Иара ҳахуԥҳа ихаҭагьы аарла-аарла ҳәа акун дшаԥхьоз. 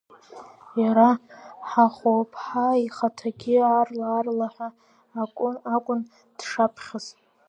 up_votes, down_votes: 0, 2